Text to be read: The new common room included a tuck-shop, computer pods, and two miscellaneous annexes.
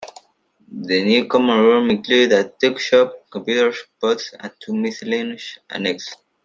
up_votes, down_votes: 1, 2